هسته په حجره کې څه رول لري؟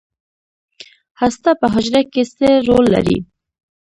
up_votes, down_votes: 0, 2